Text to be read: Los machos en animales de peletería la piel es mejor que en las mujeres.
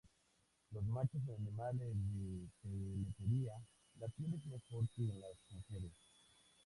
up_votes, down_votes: 0, 2